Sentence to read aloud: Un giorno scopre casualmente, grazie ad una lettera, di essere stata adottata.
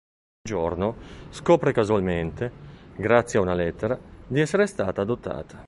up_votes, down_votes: 0, 3